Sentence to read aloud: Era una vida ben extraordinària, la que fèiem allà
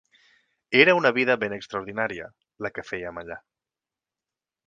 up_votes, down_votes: 4, 0